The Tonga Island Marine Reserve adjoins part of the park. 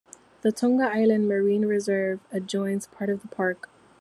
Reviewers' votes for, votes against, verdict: 2, 0, accepted